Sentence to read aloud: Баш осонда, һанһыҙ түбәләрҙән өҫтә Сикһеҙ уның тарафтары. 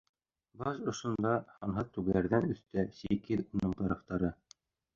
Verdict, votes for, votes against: rejected, 0, 2